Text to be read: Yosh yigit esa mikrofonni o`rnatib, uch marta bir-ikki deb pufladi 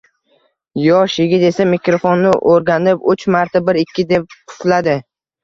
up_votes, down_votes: 2, 0